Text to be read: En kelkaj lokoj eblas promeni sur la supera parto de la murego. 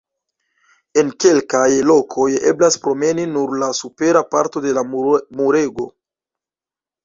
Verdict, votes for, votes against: rejected, 0, 2